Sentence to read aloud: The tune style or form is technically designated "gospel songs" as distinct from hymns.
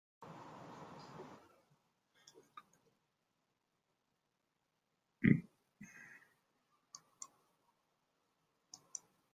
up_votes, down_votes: 0, 2